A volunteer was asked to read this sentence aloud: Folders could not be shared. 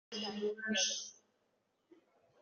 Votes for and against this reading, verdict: 0, 2, rejected